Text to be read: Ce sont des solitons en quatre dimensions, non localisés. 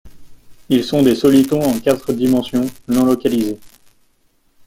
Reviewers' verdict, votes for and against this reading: rejected, 0, 2